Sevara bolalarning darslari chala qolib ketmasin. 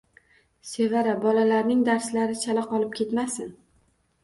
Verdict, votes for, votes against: accepted, 2, 0